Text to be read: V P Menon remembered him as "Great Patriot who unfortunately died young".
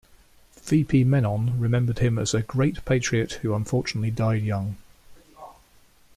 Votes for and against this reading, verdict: 2, 0, accepted